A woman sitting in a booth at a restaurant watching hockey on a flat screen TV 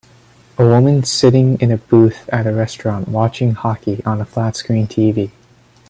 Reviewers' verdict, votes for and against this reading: accepted, 2, 0